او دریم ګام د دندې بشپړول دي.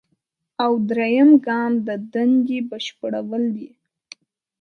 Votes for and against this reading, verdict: 1, 2, rejected